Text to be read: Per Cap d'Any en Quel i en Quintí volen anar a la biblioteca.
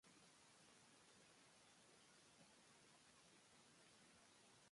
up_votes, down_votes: 0, 2